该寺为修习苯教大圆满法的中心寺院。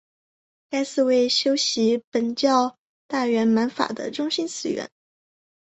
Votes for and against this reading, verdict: 2, 1, accepted